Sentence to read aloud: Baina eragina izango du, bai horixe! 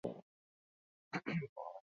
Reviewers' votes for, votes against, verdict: 0, 4, rejected